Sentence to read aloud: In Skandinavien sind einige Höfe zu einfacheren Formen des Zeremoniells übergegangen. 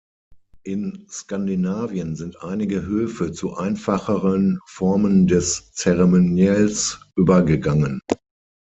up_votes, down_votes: 6, 0